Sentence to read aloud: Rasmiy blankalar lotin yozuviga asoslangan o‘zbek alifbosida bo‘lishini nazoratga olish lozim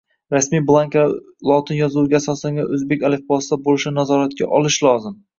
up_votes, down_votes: 2, 0